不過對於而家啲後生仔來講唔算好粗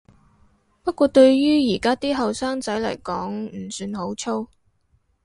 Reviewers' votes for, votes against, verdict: 6, 0, accepted